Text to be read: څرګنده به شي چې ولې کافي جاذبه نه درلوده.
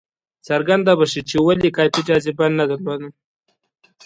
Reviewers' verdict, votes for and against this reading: accepted, 2, 0